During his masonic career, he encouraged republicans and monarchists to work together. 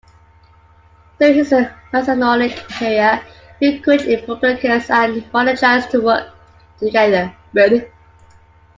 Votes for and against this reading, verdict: 0, 2, rejected